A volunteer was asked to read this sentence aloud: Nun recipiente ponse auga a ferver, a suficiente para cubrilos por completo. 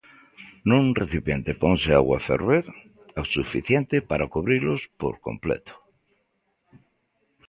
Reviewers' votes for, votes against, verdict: 1, 2, rejected